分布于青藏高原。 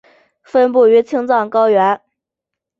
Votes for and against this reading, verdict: 2, 0, accepted